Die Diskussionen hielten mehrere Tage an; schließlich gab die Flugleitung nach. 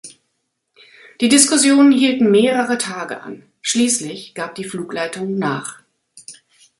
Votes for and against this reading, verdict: 2, 0, accepted